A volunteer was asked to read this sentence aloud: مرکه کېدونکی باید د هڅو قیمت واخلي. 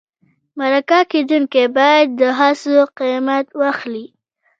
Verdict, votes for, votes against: rejected, 1, 2